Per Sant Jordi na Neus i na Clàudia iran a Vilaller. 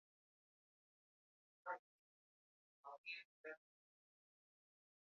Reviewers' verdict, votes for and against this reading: accepted, 2, 1